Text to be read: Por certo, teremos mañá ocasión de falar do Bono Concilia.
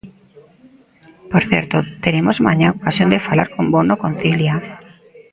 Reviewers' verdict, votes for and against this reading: rejected, 0, 2